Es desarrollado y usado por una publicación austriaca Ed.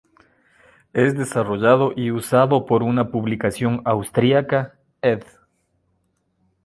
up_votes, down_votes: 3, 1